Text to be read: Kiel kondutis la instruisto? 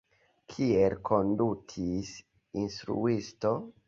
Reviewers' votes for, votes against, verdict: 2, 0, accepted